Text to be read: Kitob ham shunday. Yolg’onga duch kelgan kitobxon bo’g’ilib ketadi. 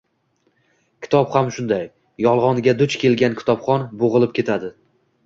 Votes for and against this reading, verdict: 2, 0, accepted